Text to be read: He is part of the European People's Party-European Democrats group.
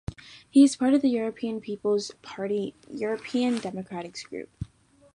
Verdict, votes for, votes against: rejected, 0, 2